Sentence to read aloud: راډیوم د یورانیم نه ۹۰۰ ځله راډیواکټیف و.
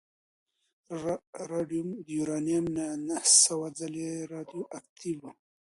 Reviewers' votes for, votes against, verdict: 0, 2, rejected